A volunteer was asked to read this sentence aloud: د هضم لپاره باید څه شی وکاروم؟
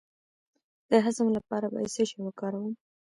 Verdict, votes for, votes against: accepted, 2, 0